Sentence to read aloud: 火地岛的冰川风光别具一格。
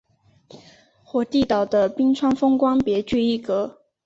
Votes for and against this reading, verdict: 9, 0, accepted